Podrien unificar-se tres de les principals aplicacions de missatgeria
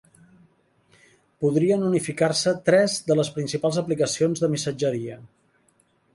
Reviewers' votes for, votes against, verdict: 4, 0, accepted